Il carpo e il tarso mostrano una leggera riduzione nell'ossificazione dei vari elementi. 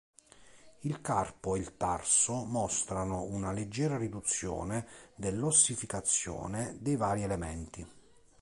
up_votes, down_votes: 0, 2